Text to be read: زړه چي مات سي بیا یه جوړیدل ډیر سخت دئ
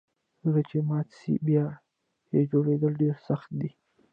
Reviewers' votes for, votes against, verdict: 2, 1, accepted